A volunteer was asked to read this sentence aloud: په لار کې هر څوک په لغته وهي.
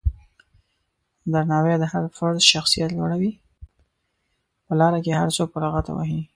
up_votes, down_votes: 1, 2